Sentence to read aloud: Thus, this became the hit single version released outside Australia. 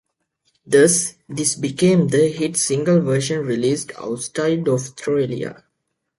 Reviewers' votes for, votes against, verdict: 2, 1, accepted